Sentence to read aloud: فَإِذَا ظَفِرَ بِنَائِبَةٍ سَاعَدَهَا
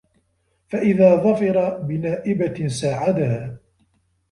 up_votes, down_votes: 1, 2